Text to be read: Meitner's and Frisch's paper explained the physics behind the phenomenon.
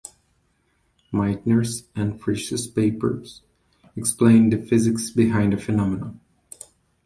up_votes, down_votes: 0, 2